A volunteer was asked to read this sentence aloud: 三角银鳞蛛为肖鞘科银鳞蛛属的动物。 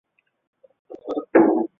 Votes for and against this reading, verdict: 0, 2, rejected